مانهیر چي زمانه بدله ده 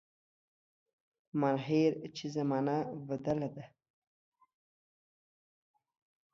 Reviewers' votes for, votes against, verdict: 2, 1, accepted